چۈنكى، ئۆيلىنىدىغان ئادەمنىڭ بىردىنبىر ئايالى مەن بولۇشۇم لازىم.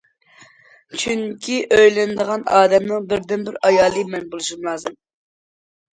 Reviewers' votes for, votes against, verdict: 2, 0, accepted